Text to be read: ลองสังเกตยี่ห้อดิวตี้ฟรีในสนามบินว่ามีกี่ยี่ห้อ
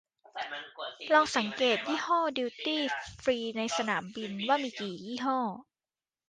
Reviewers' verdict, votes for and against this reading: rejected, 1, 2